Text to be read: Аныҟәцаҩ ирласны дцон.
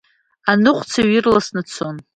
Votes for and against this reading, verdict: 2, 0, accepted